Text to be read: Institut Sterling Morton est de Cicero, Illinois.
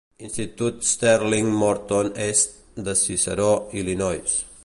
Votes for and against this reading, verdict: 1, 2, rejected